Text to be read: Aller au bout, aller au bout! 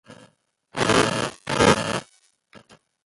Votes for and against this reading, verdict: 0, 2, rejected